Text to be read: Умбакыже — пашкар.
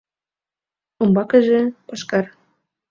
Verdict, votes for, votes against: accepted, 2, 0